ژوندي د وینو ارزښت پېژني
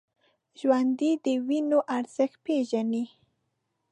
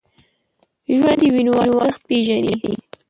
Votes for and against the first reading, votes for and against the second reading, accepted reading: 2, 0, 0, 2, first